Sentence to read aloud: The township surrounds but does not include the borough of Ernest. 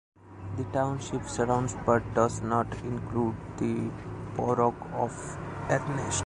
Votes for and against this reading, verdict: 0, 2, rejected